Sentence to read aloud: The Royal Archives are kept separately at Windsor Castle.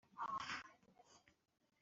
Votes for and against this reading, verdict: 0, 2, rejected